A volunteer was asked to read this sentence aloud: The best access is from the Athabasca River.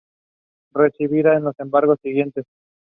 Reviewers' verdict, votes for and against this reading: rejected, 1, 2